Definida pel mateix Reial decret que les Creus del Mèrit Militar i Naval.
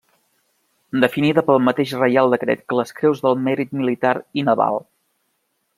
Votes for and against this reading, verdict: 3, 0, accepted